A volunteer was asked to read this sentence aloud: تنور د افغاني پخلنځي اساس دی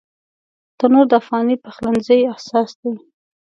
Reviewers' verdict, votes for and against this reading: accepted, 2, 0